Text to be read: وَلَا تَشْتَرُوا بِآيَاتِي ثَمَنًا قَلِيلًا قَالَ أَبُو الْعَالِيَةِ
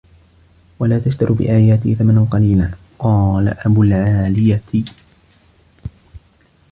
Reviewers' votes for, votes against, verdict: 1, 2, rejected